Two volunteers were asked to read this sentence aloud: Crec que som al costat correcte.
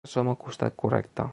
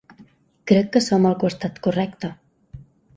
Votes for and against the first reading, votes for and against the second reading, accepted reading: 0, 2, 3, 0, second